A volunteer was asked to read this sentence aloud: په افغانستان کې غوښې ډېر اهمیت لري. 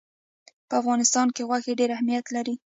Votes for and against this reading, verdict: 0, 2, rejected